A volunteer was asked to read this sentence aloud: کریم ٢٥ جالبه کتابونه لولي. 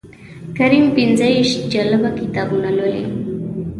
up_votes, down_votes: 0, 2